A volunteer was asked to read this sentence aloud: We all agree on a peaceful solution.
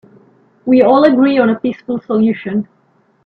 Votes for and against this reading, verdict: 2, 0, accepted